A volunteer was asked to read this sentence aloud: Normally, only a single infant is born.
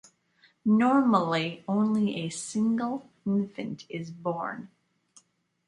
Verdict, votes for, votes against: accepted, 2, 0